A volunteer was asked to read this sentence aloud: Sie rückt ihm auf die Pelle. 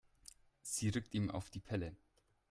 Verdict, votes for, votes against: accepted, 2, 0